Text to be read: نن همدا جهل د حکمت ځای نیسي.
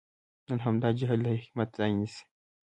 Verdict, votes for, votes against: rejected, 1, 2